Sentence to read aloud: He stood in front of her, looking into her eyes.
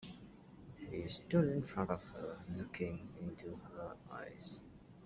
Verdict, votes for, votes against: rejected, 1, 2